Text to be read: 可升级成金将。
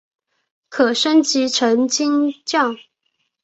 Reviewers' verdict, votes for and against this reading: accepted, 3, 0